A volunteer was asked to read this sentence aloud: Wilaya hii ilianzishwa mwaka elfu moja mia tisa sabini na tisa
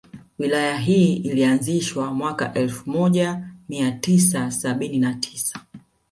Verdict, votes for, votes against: accepted, 2, 1